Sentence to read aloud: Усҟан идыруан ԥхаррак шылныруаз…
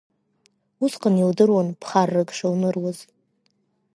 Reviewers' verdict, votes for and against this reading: rejected, 0, 2